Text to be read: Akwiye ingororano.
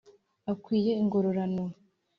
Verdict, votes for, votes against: accepted, 2, 0